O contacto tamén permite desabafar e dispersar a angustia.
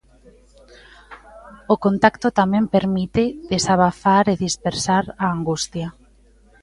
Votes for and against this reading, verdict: 2, 0, accepted